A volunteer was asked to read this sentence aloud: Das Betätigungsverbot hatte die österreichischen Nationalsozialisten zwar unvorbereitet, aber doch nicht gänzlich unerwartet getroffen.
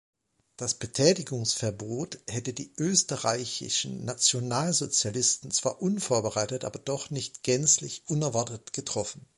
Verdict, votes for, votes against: rejected, 0, 2